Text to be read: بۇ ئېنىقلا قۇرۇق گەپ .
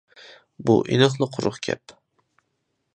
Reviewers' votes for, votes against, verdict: 2, 0, accepted